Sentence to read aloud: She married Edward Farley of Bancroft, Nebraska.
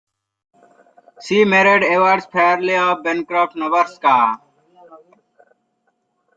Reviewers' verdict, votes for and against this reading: rejected, 0, 2